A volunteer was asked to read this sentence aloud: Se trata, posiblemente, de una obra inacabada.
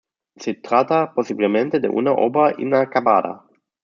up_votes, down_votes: 0, 2